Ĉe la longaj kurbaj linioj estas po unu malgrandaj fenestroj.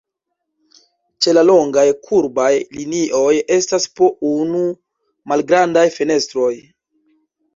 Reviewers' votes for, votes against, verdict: 1, 2, rejected